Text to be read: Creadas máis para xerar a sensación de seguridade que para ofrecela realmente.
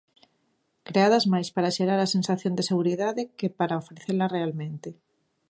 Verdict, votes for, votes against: accepted, 2, 1